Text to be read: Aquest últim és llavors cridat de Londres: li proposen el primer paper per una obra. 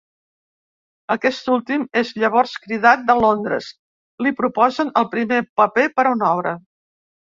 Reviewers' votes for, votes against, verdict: 1, 2, rejected